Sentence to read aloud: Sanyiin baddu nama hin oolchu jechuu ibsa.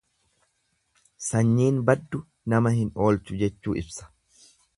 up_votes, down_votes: 2, 0